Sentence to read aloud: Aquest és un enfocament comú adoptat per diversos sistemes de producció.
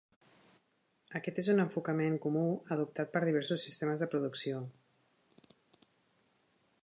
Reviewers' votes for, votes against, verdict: 1, 2, rejected